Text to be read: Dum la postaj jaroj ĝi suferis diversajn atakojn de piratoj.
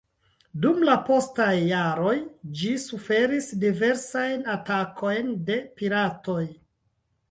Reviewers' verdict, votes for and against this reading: rejected, 1, 2